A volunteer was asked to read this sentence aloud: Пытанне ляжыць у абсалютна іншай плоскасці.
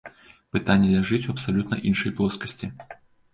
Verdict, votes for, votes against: accepted, 2, 0